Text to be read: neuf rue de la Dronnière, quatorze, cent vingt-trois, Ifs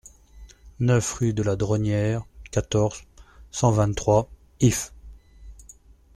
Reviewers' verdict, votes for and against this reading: accepted, 2, 0